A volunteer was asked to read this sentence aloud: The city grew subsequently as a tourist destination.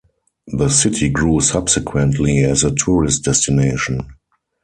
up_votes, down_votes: 4, 0